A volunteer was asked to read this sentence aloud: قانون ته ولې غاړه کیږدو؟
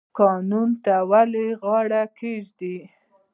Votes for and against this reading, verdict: 2, 1, accepted